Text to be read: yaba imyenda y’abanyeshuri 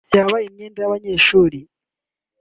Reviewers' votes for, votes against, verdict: 2, 0, accepted